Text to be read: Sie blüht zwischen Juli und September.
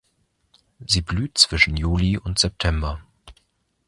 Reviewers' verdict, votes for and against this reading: accepted, 2, 0